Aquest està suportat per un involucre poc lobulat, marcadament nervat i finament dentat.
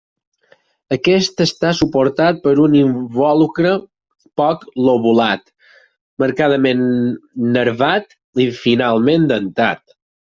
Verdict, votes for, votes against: rejected, 0, 4